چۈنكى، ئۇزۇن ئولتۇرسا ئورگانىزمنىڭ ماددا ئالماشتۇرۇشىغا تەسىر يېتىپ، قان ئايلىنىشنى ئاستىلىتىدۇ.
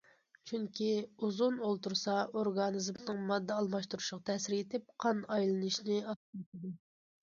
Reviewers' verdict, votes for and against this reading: rejected, 1, 2